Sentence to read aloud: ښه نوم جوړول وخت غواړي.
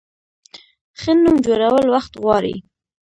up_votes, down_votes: 2, 0